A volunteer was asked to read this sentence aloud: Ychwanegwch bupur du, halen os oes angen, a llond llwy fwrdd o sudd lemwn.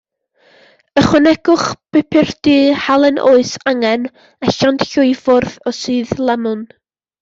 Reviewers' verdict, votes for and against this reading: rejected, 0, 2